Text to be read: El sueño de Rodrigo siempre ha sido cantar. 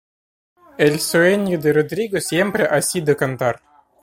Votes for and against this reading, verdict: 2, 0, accepted